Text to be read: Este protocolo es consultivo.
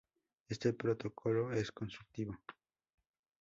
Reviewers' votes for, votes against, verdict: 2, 0, accepted